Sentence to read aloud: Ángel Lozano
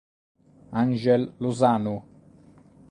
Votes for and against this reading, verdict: 2, 0, accepted